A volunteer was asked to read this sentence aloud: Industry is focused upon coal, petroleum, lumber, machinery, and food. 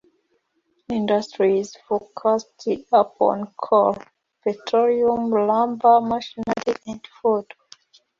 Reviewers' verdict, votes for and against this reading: accepted, 2, 0